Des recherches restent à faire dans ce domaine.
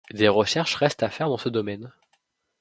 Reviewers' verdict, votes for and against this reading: accepted, 2, 0